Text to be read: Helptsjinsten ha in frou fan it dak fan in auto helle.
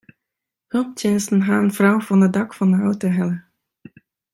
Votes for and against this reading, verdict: 2, 1, accepted